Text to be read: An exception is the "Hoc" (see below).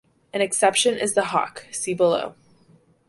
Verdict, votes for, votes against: accepted, 2, 0